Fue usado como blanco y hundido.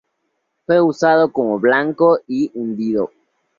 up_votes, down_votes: 2, 0